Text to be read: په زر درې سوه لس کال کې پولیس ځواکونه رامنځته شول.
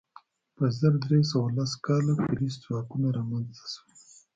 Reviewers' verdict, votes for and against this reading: rejected, 1, 2